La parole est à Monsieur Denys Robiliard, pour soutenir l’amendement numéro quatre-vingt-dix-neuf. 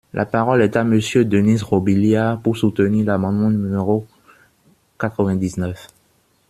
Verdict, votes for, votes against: rejected, 1, 2